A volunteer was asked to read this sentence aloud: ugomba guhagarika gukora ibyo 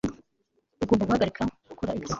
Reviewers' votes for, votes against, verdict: 1, 2, rejected